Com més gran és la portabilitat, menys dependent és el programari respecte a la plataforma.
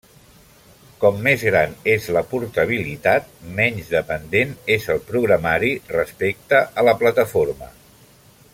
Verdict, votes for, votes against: accepted, 3, 0